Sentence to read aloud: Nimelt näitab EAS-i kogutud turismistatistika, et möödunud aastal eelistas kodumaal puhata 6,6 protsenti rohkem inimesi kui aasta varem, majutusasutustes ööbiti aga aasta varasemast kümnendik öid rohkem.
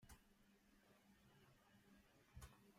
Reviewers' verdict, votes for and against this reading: rejected, 0, 2